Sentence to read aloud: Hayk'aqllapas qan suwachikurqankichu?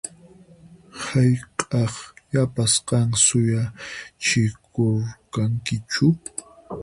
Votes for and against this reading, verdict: 0, 4, rejected